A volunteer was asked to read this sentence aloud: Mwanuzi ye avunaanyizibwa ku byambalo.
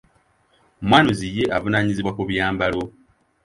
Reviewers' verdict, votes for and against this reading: accepted, 2, 0